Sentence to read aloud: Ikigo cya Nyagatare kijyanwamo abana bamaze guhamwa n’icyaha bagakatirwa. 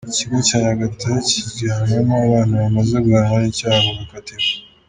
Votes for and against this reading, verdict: 2, 0, accepted